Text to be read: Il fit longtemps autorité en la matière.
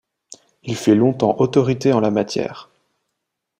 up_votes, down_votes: 1, 2